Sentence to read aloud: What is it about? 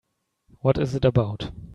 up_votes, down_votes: 2, 0